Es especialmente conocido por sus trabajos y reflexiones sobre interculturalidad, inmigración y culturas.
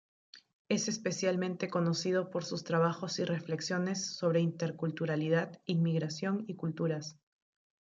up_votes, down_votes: 0, 2